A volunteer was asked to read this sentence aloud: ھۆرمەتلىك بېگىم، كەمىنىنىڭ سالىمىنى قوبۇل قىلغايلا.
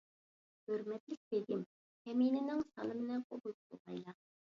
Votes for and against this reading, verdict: 1, 2, rejected